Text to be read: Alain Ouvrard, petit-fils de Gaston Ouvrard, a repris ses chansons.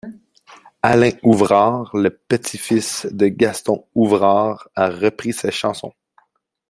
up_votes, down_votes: 0, 2